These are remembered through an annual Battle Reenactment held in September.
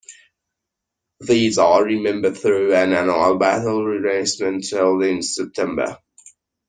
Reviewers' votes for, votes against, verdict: 0, 2, rejected